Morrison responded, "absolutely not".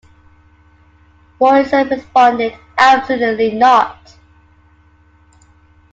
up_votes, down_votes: 2, 1